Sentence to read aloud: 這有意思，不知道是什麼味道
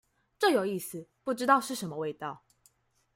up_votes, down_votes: 2, 1